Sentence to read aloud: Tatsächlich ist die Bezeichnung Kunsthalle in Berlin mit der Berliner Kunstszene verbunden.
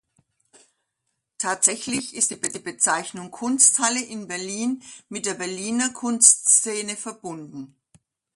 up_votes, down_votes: 0, 2